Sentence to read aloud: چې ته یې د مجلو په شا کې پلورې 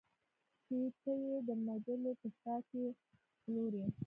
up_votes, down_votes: 2, 1